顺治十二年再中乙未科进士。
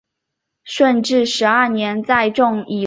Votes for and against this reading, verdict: 0, 2, rejected